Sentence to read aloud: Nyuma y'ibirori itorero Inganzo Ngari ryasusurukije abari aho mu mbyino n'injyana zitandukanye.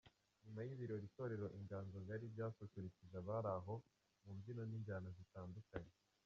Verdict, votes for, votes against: rejected, 0, 2